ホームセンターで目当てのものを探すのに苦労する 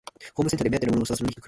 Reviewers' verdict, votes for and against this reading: rejected, 0, 2